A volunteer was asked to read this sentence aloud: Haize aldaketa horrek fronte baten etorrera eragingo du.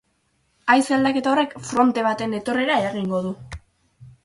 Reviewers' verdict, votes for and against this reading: accepted, 8, 0